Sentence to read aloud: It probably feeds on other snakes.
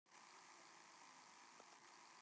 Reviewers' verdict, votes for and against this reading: rejected, 0, 2